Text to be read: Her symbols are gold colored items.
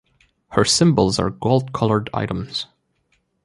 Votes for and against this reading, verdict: 2, 1, accepted